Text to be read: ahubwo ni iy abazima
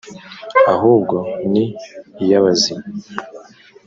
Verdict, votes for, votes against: accepted, 2, 1